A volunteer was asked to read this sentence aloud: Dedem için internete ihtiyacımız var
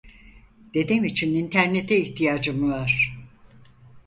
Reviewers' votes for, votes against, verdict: 0, 4, rejected